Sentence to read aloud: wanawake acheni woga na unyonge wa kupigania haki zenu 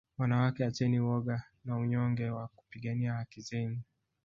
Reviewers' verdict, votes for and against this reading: rejected, 0, 2